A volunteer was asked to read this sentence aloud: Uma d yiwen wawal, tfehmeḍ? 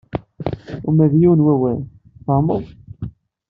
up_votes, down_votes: 3, 0